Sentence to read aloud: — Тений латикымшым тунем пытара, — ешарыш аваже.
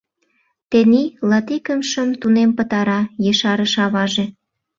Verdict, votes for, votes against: accepted, 2, 0